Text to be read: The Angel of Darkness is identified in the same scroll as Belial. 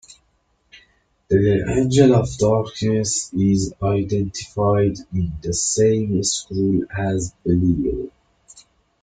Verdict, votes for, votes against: accepted, 2, 0